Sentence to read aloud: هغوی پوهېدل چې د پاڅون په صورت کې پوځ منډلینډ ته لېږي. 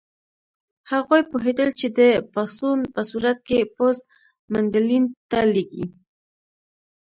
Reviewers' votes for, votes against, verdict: 2, 0, accepted